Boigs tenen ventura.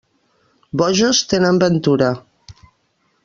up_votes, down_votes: 1, 2